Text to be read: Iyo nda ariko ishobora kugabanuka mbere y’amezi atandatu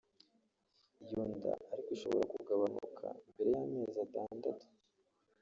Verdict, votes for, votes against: rejected, 1, 2